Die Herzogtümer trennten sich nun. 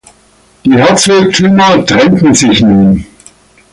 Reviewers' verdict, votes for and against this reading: accepted, 2, 0